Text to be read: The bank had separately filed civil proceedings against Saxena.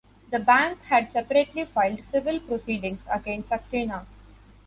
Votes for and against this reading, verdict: 2, 0, accepted